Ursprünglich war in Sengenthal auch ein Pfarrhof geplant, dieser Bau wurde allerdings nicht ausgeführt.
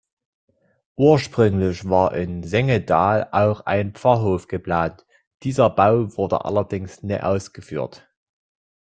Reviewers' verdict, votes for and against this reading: rejected, 1, 2